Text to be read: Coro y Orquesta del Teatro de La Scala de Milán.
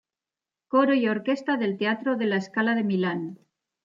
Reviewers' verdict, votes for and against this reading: accepted, 2, 1